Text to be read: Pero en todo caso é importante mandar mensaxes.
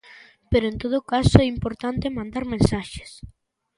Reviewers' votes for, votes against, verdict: 3, 0, accepted